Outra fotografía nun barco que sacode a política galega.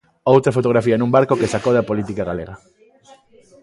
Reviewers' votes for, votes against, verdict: 1, 2, rejected